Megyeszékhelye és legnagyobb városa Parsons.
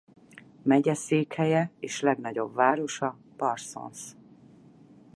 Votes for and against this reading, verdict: 4, 0, accepted